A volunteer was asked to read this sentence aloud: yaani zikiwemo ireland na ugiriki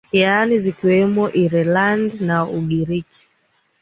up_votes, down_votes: 2, 0